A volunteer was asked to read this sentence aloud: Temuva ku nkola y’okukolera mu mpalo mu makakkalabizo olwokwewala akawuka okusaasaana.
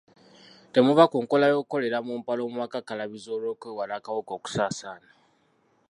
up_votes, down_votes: 0, 2